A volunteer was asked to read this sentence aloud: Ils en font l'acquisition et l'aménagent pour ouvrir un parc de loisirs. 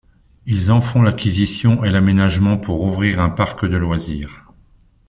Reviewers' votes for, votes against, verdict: 0, 2, rejected